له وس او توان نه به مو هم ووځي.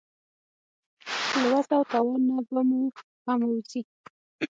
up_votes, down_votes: 6, 3